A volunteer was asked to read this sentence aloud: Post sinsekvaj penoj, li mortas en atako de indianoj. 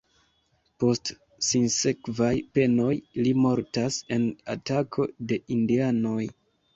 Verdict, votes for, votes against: accepted, 2, 0